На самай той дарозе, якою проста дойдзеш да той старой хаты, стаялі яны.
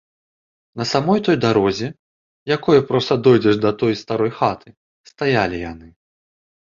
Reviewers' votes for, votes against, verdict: 0, 2, rejected